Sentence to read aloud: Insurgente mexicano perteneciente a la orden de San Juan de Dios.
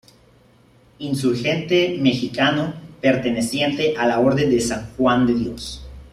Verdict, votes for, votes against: accepted, 2, 0